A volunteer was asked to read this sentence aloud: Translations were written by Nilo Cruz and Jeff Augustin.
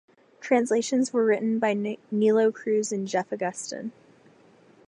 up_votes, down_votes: 2, 4